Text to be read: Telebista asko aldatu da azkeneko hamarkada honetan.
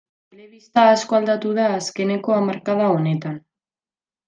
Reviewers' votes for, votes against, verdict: 1, 2, rejected